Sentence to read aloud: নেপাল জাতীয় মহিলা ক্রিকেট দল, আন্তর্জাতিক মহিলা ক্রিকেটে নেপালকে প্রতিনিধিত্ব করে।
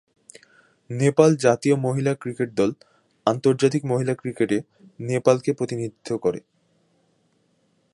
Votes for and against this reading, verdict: 2, 0, accepted